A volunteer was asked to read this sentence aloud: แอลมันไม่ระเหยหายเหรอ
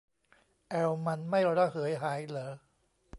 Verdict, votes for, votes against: accepted, 2, 0